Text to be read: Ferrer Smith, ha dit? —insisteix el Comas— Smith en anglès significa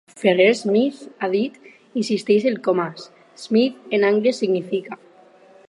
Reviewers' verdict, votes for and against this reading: rejected, 0, 4